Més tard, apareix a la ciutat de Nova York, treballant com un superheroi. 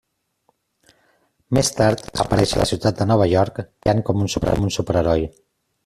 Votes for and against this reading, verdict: 0, 2, rejected